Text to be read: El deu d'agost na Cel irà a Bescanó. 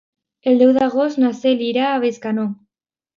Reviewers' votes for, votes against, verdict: 2, 0, accepted